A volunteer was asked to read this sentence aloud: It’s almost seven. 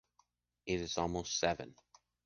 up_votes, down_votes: 2, 0